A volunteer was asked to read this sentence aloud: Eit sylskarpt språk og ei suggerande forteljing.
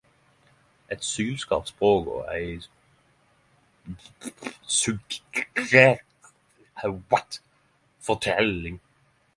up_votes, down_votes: 0, 10